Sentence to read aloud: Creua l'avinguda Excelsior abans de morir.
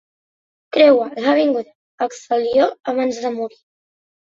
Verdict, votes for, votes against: rejected, 0, 2